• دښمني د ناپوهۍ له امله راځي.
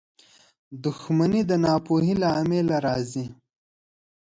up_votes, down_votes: 0, 2